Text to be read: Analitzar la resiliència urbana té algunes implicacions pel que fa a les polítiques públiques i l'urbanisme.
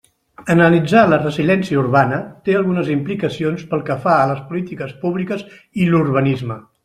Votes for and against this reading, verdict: 1, 2, rejected